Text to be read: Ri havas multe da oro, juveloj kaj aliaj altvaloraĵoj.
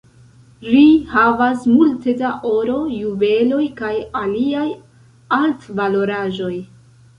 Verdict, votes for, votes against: accepted, 2, 0